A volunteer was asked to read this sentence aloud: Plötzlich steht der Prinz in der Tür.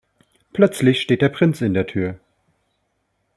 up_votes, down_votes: 2, 0